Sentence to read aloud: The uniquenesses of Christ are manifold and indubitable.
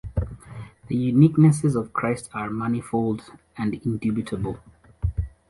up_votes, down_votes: 2, 0